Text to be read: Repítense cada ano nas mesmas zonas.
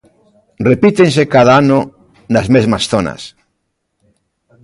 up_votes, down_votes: 2, 0